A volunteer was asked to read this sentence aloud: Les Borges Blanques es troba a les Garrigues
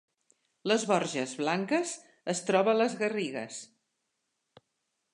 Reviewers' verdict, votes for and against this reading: accepted, 3, 0